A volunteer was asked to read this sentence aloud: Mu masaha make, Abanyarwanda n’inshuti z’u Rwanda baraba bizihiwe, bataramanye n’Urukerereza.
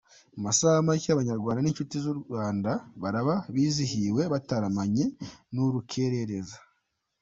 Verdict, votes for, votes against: accepted, 2, 0